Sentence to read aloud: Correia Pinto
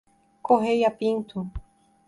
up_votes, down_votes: 2, 0